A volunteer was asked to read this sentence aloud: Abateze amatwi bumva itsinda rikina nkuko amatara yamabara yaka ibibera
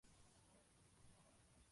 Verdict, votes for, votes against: rejected, 0, 2